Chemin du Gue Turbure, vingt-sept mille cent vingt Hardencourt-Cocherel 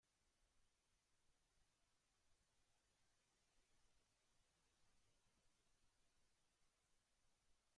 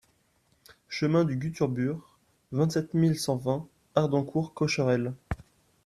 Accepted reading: second